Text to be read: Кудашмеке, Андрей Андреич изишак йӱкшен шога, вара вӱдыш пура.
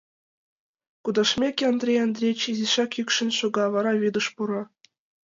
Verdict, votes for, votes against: accepted, 2, 0